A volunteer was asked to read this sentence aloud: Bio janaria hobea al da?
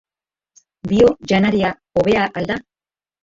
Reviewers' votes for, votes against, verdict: 1, 3, rejected